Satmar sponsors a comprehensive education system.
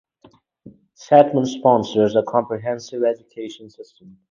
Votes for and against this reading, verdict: 6, 0, accepted